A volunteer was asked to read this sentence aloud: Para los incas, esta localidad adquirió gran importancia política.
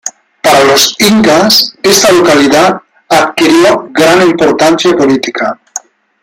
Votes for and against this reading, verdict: 1, 2, rejected